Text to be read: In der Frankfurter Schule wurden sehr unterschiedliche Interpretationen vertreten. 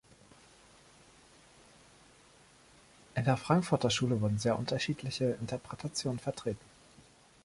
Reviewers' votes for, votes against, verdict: 1, 2, rejected